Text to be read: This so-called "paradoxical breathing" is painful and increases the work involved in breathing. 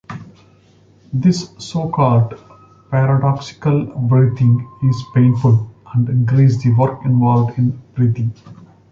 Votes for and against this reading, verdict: 1, 2, rejected